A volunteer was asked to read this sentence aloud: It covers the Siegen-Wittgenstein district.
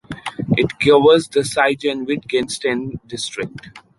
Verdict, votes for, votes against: rejected, 0, 2